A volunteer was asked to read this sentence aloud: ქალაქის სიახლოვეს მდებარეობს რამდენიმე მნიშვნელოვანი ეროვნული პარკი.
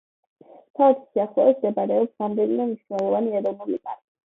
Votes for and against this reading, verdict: 1, 2, rejected